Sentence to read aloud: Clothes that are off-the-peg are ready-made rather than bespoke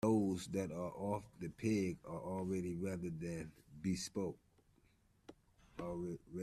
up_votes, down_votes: 0, 2